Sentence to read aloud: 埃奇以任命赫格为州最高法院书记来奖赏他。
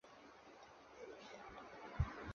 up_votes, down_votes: 3, 2